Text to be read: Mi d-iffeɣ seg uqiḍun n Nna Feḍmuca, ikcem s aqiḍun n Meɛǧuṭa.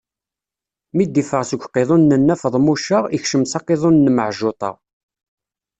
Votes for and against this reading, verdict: 1, 2, rejected